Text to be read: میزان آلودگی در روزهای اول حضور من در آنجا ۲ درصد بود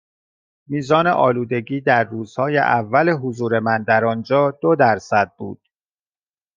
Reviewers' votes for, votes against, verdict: 0, 2, rejected